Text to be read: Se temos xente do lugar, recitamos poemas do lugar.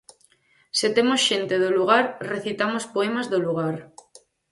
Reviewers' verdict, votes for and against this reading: accepted, 4, 0